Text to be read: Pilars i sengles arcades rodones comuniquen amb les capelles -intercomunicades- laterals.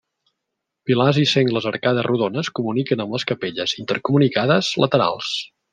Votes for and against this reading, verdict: 0, 2, rejected